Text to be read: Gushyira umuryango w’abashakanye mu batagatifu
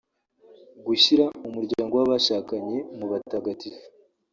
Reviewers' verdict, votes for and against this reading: rejected, 1, 2